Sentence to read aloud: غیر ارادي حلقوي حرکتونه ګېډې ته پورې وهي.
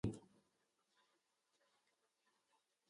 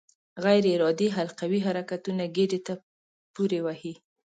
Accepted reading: second